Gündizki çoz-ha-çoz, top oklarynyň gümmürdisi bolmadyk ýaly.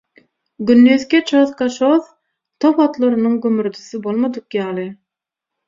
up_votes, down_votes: 0, 6